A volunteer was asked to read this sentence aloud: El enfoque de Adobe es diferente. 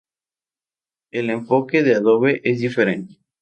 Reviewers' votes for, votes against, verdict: 2, 2, rejected